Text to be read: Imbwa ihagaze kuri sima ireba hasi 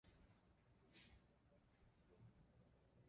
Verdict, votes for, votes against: rejected, 0, 2